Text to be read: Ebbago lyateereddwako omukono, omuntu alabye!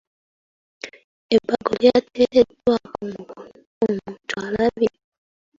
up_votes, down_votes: 0, 2